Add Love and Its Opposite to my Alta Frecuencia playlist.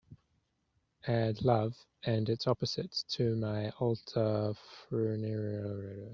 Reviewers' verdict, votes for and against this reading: rejected, 0, 3